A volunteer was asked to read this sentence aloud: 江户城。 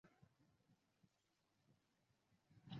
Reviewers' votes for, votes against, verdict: 0, 3, rejected